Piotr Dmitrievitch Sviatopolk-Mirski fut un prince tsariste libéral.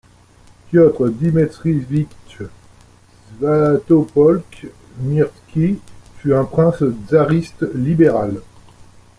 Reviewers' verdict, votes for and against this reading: rejected, 1, 2